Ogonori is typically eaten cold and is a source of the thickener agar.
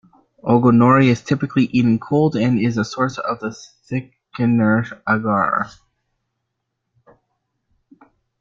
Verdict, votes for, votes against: accepted, 2, 0